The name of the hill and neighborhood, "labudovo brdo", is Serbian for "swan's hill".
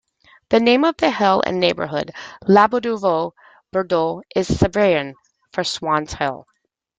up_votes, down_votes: 1, 2